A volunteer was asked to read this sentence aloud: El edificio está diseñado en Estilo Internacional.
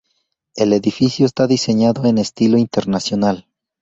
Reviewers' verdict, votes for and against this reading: accepted, 2, 0